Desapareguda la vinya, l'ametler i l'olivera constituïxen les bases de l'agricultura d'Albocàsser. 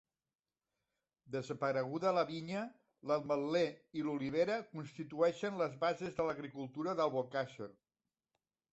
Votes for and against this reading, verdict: 2, 0, accepted